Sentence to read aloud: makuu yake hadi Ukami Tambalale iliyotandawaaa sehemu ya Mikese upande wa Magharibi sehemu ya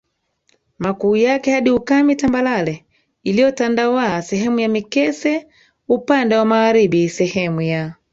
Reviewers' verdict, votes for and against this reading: rejected, 1, 3